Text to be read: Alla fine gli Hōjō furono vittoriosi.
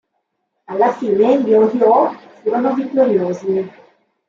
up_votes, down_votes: 1, 2